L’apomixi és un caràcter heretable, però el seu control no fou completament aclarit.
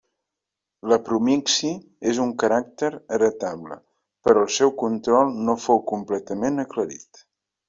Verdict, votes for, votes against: rejected, 0, 2